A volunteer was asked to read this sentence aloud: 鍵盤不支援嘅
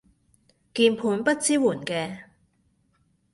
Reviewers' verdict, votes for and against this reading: accepted, 2, 0